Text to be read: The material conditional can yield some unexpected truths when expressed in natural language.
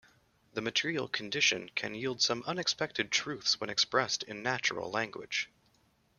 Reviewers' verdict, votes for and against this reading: rejected, 1, 2